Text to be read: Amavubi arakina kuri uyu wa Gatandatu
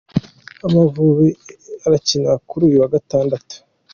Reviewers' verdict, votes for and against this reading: accepted, 2, 0